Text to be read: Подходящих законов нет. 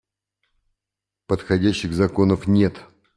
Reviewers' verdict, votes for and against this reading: accepted, 2, 0